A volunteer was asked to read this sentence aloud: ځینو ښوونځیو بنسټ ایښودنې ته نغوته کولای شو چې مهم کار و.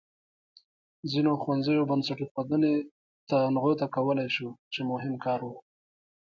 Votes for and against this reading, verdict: 1, 2, rejected